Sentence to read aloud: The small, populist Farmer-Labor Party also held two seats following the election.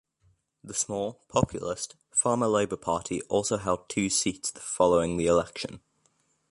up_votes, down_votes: 0, 2